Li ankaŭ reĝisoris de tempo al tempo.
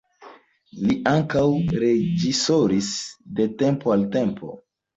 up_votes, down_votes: 2, 0